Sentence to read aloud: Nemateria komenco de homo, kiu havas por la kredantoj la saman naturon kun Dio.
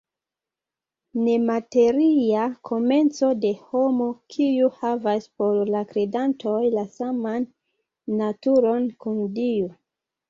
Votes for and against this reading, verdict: 0, 2, rejected